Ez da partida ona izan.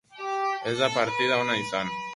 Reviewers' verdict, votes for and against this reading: accepted, 4, 2